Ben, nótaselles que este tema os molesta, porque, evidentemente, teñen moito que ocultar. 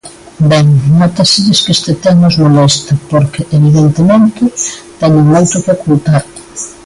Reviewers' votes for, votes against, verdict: 2, 0, accepted